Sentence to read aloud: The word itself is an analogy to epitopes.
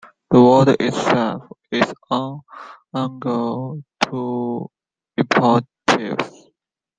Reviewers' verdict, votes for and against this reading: rejected, 0, 2